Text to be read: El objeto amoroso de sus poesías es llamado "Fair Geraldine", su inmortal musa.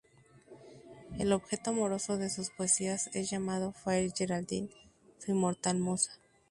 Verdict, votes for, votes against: accepted, 2, 0